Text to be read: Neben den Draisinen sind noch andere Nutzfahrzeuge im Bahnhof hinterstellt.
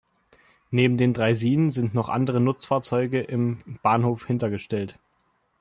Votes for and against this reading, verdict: 1, 2, rejected